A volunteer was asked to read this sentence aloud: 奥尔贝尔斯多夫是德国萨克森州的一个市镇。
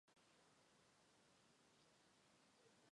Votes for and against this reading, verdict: 0, 5, rejected